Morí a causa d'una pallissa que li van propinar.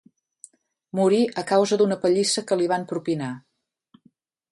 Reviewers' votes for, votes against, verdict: 2, 0, accepted